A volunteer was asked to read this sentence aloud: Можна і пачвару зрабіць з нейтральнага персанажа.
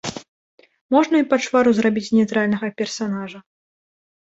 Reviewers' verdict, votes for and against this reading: rejected, 1, 2